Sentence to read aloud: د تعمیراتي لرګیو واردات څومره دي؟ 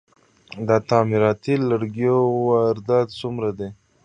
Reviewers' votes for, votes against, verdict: 2, 0, accepted